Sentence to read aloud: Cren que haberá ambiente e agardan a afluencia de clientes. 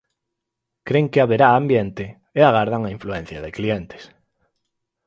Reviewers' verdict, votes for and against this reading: rejected, 0, 4